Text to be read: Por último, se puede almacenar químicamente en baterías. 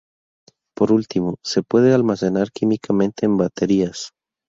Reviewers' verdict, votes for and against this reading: rejected, 2, 2